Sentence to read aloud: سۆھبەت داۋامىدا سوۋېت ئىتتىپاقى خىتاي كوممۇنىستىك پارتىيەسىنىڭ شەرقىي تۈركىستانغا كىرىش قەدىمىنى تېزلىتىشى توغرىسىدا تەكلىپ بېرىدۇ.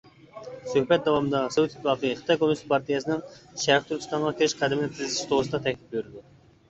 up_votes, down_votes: 0, 2